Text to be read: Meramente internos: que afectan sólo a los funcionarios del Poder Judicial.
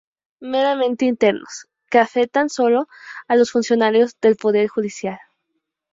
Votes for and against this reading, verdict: 2, 2, rejected